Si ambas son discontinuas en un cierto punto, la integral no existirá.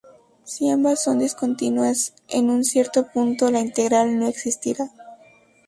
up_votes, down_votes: 4, 0